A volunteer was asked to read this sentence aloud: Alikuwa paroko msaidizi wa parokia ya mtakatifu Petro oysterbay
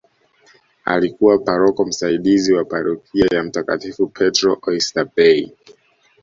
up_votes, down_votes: 2, 0